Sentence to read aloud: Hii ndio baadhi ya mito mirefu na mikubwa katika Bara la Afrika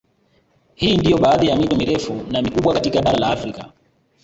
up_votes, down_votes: 1, 2